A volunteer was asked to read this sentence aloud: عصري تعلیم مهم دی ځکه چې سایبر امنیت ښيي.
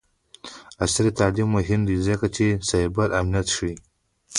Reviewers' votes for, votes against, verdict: 2, 1, accepted